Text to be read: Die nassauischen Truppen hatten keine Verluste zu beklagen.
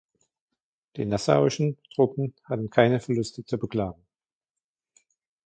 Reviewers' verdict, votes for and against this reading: accepted, 2, 1